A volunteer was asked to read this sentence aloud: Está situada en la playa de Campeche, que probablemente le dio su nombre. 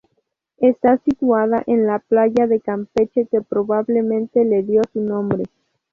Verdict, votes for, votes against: accepted, 4, 0